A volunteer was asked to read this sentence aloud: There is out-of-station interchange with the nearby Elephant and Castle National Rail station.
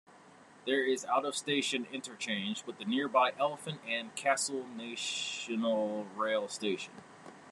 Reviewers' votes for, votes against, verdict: 1, 2, rejected